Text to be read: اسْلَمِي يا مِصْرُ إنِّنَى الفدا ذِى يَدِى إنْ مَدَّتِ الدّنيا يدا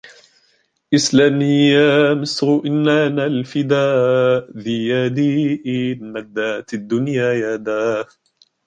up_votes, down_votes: 1, 2